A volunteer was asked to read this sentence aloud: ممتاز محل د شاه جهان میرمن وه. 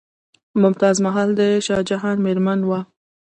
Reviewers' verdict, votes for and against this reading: rejected, 0, 2